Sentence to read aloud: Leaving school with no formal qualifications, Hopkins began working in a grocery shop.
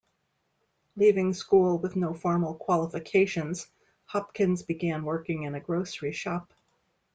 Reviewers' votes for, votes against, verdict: 2, 0, accepted